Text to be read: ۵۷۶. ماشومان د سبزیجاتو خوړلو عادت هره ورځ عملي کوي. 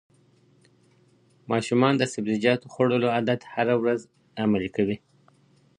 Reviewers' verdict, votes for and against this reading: rejected, 0, 2